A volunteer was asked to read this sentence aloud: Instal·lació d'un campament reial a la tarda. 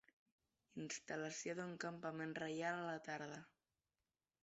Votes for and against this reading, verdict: 1, 2, rejected